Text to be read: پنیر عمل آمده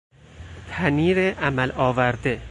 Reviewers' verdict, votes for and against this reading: rejected, 0, 4